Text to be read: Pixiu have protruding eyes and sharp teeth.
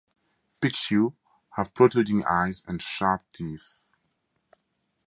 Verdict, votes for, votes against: accepted, 2, 0